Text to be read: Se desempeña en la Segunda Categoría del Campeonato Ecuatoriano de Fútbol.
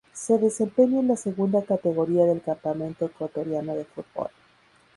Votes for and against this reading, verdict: 0, 2, rejected